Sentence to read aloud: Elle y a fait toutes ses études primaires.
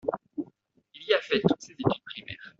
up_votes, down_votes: 0, 2